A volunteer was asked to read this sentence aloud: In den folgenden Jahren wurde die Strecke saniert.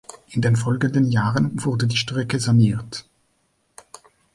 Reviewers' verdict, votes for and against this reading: accepted, 2, 0